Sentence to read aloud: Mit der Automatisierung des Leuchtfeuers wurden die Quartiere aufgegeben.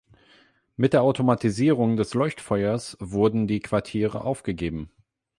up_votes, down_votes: 8, 0